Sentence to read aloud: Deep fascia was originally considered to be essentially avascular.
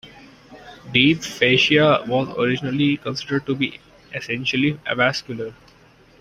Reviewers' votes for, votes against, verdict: 2, 0, accepted